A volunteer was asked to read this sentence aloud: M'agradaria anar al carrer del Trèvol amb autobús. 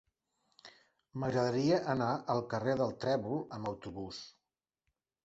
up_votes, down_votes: 3, 0